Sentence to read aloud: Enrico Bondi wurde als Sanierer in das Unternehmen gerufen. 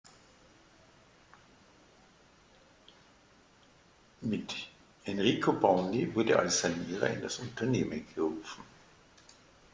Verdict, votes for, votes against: rejected, 1, 2